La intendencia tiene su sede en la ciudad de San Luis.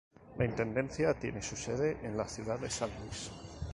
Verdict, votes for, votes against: accepted, 2, 0